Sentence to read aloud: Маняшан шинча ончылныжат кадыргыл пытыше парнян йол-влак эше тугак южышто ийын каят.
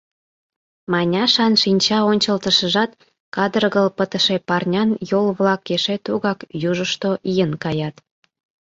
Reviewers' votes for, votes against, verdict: 1, 2, rejected